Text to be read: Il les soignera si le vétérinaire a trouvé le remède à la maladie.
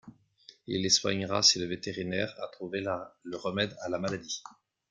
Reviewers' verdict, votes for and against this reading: rejected, 0, 2